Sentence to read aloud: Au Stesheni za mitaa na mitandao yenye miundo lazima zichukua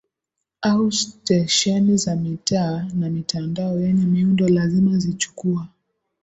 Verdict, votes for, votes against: accepted, 2, 0